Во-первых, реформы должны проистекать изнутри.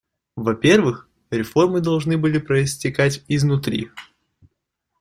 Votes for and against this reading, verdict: 1, 2, rejected